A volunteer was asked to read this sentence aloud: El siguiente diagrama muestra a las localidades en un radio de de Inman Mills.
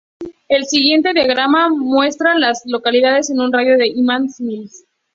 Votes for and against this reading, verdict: 0, 2, rejected